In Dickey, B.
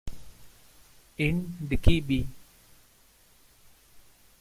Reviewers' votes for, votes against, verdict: 2, 1, accepted